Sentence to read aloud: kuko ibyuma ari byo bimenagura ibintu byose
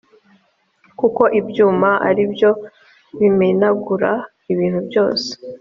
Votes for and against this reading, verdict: 2, 0, accepted